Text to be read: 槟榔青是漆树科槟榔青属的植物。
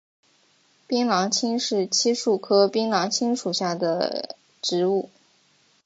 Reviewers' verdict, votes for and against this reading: accepted, 2, 1